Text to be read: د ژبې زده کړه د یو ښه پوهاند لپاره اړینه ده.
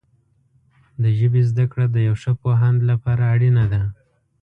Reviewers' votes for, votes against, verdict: 2, 0, accepted